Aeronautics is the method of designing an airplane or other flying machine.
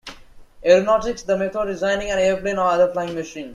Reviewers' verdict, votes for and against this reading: rejected, 0, 2